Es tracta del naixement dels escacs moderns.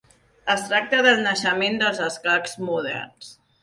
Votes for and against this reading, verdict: 3, 0, accepted